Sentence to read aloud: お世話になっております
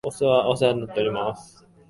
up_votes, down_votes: 1, 2